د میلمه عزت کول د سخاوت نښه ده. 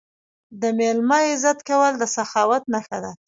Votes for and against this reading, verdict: 1, 2, rejected